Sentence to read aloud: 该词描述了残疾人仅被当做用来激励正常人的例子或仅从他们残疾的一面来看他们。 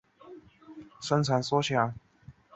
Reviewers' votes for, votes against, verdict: 0, 2, rejected